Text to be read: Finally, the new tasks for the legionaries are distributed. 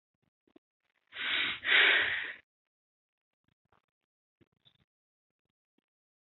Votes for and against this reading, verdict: 1, 2, rejected